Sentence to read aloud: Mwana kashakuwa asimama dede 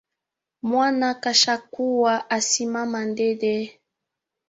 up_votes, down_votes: 0, 3